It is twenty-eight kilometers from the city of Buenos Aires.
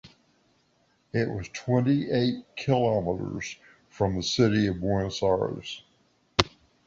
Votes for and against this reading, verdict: 0, 2, rejected